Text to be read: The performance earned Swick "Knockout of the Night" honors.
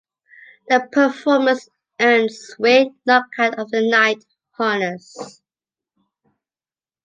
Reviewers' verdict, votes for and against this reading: accepted, 2, 0